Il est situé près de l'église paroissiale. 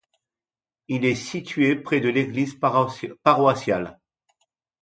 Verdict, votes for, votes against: rejected, 0, 2